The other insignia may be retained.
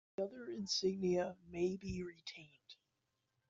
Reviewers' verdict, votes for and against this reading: rejected, 1, 2